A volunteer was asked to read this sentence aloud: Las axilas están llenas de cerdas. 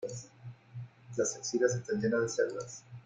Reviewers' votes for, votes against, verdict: 2, 1, accepted